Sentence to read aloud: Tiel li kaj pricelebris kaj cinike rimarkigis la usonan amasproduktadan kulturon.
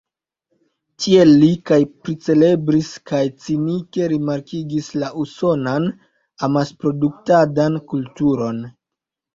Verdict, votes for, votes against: accepted, 2, 0